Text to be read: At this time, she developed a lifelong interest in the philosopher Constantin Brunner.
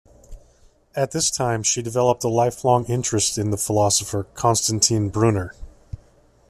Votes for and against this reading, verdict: 2, 0, accepted